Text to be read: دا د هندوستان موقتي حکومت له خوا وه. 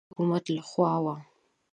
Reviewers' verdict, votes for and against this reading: rejected, 0, 2